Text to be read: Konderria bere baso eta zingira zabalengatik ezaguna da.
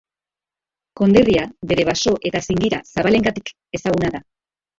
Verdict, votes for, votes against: accepted, 2, 1